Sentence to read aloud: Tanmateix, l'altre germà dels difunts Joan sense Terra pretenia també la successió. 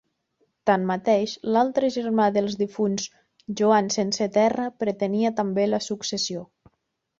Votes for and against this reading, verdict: 3, 0, accepted